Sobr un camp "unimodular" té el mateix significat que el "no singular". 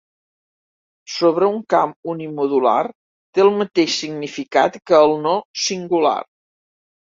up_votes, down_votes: 1, 2